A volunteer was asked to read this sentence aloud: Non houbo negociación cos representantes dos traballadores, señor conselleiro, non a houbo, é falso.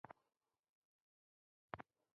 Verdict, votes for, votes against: rejected, 0, 2